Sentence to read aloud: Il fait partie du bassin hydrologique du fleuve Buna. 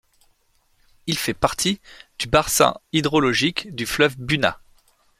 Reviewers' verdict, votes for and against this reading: rejected, 2, 3